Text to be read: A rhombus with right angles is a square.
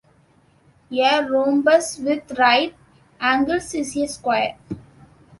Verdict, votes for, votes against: rejected, 0, 2